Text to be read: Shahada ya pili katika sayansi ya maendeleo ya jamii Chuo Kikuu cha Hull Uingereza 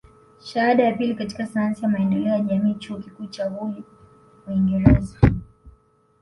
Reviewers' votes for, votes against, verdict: 2, 0, accepted